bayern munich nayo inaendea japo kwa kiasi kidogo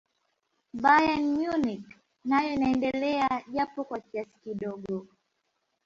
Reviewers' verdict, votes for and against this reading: rejected, 0, 2